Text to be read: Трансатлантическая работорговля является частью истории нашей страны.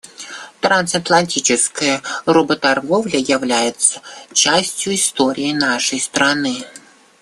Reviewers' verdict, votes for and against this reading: accepted, 2, 0